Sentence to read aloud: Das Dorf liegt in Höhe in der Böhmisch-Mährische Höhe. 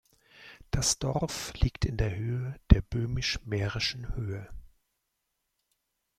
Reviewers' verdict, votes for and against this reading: rejected, 0, 2